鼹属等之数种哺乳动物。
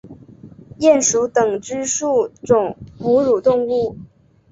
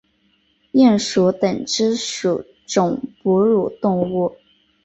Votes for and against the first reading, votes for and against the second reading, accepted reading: 2, 1, 0, 2, first